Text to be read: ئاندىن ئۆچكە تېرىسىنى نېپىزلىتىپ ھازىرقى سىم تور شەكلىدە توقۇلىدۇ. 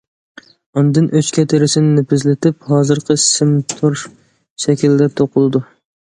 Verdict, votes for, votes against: accepted, 2, 0